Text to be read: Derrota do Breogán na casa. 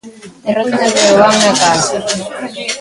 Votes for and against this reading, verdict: 0, 2, rejected